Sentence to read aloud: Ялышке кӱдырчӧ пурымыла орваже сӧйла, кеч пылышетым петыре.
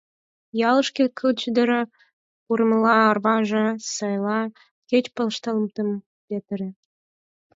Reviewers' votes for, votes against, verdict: 0, 4, rejected